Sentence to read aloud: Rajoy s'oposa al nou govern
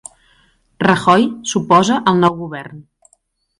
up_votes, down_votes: 2, 0